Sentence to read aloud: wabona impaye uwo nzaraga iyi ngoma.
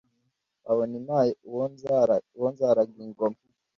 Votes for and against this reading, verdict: 1, 2, rejected